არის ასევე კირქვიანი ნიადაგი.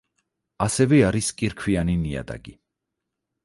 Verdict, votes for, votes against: rejected, 0, 4